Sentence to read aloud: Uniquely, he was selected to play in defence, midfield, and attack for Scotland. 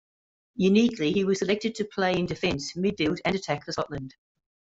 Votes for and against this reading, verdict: 2, 1, accepted